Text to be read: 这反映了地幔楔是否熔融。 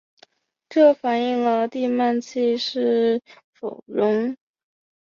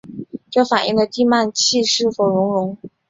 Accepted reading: second